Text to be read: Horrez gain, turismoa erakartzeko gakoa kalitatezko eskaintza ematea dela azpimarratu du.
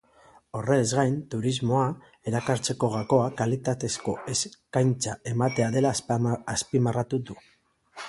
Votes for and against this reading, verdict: 1, 3, rejected